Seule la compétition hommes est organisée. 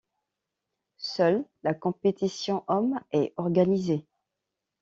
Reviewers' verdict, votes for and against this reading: accepted, 2, 0